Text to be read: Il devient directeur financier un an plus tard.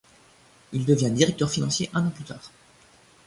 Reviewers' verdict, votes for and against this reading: accepted, 2, 0